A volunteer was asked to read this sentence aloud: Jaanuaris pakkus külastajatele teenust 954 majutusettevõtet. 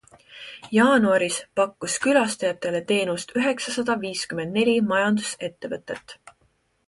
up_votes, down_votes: 0, 2